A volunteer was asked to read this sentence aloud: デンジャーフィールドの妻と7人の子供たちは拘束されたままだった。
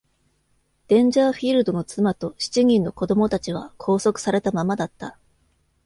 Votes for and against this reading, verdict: 0, 2, rejected